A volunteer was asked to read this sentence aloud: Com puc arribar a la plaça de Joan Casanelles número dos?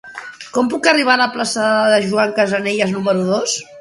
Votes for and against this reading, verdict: 0, 2, rejected